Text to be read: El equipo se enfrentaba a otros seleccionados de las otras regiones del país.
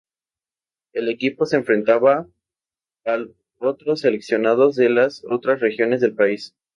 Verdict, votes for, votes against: accepted, 2, 0